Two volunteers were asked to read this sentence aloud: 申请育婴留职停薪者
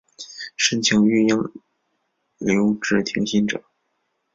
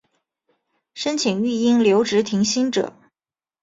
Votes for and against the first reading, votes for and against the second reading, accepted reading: 1, 2, 5, 0, second